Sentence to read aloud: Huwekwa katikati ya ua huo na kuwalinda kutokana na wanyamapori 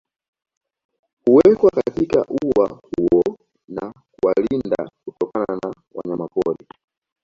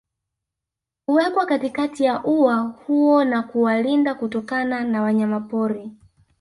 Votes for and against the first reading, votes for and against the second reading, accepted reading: 3, 2, 1, 2, first